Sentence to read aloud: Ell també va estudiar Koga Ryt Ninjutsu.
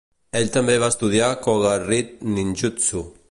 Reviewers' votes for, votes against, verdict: 2, 0, accepted